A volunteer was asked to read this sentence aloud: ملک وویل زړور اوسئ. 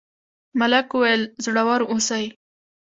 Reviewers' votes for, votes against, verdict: 0, 2, rejected